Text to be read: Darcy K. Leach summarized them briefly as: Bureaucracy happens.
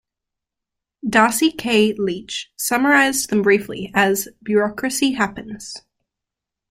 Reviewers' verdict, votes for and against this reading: accepted, 2, 0